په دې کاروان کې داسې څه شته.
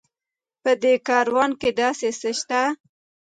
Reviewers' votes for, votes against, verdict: 1, 2, rejected